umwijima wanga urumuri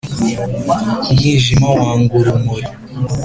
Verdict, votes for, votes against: accepted, 4, 0